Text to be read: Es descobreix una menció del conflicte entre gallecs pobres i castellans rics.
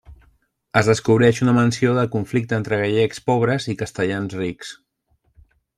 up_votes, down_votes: 2, 0